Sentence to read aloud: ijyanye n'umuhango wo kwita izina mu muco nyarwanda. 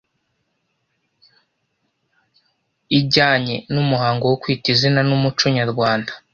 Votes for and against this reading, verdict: 1, 2, rejected